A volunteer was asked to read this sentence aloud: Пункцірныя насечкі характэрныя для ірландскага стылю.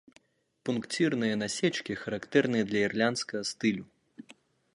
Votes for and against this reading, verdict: 1, 2, rejected